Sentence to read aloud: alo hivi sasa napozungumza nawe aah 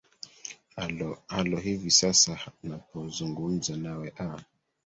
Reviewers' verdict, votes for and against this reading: rejected, 1, 2